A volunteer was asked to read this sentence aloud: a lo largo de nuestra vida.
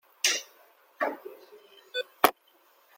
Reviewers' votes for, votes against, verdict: 0, 2, rejected